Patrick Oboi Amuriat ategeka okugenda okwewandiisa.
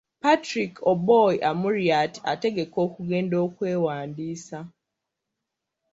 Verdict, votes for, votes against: rejected, 0, 2